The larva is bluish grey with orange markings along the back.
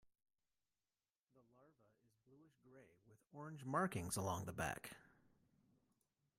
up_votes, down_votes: 1, 2